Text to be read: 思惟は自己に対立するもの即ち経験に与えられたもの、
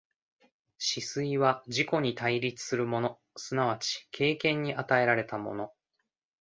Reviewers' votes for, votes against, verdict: 1, 2, rejected